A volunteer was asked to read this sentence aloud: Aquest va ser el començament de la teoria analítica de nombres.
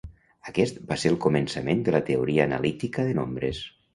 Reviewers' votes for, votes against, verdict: 3, 0, accepted